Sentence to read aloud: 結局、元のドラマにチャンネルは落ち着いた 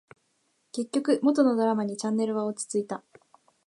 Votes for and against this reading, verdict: 2, 0, accepted